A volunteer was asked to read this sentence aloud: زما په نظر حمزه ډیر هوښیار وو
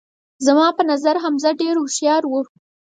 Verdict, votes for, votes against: accepted, 4, 0